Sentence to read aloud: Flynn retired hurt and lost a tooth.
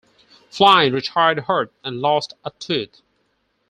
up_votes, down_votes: 4, 2